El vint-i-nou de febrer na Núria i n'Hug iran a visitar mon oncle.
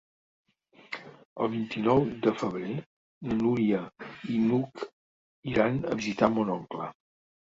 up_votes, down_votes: 2, 0